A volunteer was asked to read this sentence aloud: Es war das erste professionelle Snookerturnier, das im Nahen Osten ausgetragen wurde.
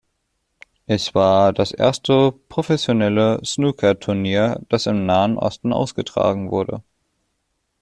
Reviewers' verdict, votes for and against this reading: accepted, 2, 0